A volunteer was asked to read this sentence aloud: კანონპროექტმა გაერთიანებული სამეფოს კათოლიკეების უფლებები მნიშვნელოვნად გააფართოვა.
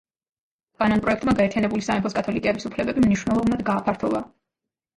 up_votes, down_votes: 2, 1